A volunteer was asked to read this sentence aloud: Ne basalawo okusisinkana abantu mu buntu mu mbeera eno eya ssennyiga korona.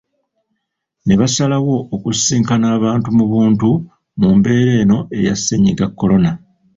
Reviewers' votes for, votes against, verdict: 2, 0, accepted